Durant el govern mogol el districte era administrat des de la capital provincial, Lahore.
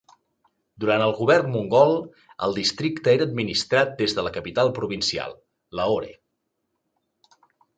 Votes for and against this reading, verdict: 1, 2, rejected